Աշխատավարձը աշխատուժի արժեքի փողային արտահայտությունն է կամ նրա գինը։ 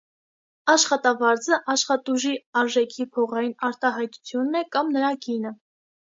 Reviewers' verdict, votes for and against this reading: accepted, 2, 0